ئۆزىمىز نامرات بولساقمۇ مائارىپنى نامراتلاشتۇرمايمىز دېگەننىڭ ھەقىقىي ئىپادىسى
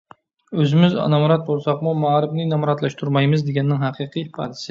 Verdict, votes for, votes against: rejected, 0, 2